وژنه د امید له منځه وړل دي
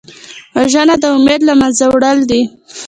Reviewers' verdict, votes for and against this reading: accepted, 3, 0